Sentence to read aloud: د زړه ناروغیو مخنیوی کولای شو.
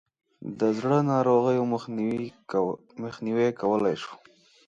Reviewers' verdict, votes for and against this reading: rejected, 1, 2